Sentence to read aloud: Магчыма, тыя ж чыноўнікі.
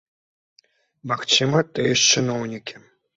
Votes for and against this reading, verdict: 2, 1, accepted